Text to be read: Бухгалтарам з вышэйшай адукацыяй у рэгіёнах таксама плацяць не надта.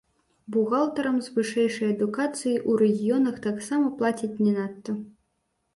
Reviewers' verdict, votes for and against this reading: rejected, 0, 2